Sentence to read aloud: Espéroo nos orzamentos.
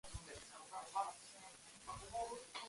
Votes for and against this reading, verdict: 0, 2, rejected